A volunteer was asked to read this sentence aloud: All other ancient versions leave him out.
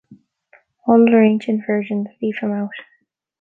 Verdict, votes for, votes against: accepted, 2, 0